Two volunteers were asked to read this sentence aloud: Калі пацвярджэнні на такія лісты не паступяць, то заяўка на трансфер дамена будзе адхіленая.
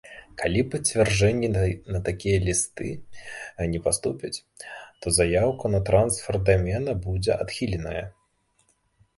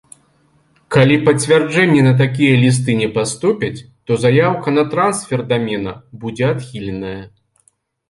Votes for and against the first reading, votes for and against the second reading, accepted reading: 1, 2, 2, 0, second